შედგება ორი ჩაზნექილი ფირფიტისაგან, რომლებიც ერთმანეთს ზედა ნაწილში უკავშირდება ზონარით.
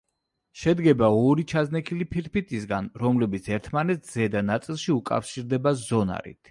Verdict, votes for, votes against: accepted, 2, 0